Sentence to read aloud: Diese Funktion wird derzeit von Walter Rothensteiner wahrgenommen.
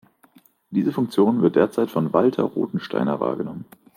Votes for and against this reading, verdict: 2, 0, accepted